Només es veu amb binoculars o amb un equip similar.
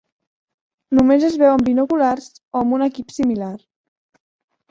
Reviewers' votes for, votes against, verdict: 3, 0, accepted